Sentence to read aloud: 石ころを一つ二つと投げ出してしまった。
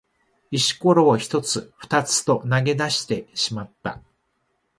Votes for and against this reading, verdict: 2, 0, accepted